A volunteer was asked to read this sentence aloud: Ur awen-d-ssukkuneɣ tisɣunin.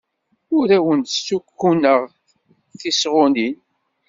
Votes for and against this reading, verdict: 2, 0, accepted